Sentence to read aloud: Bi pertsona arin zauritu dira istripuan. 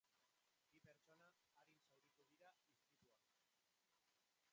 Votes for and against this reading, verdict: 0, 2, rejected